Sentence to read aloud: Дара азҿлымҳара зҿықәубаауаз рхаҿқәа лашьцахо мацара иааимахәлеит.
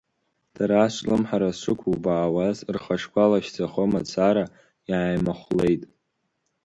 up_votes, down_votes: 2, 3